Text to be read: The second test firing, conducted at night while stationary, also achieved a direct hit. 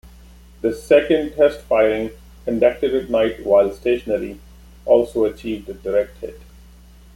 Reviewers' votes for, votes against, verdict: 2, 0, accepted